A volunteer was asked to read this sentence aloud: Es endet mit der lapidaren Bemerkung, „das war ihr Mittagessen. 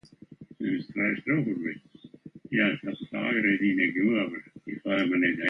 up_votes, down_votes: 0, 2